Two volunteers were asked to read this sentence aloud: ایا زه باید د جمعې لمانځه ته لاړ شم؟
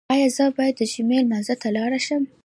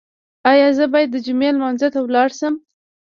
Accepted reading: first